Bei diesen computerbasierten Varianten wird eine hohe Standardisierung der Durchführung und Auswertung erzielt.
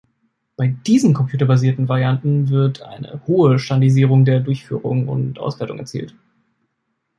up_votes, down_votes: 1, 2